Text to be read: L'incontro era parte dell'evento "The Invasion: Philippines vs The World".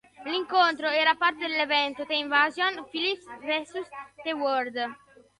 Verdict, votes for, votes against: rejected, 1, 2